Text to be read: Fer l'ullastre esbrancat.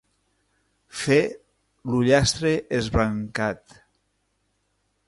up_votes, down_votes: 3, 0